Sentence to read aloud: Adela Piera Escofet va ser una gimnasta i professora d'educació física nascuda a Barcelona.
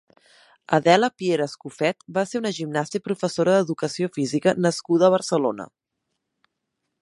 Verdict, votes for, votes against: accepted, 3, 0